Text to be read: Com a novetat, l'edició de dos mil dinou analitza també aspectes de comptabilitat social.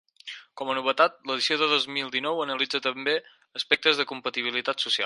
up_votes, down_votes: 0, 4